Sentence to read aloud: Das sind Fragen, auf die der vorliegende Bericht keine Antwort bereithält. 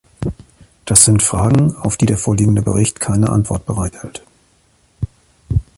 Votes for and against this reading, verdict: 2, 0, accepted